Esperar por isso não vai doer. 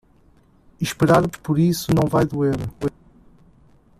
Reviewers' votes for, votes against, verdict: 1, 2, rejected